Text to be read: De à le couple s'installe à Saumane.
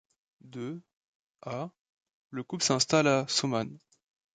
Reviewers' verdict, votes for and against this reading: accepted, 3, 0